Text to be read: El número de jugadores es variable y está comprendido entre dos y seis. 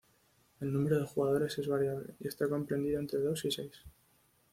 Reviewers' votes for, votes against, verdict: 2, 0, accepted